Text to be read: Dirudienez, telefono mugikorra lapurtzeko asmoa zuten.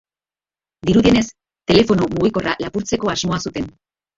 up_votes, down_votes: 0, 2